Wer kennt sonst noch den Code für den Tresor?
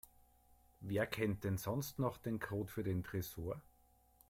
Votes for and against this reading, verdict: 1, 2, rejected